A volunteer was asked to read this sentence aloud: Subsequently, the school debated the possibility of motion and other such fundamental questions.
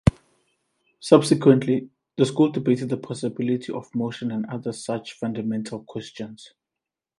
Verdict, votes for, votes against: accepted, 2, 0